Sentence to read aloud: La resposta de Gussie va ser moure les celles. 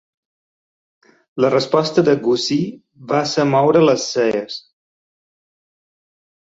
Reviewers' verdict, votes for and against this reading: rejected, 0, 2